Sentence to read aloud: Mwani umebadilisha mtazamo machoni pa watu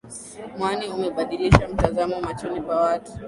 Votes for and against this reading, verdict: 2, 1, accepted